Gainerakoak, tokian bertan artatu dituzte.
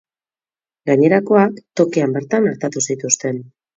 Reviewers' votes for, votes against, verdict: 0, 4, rejected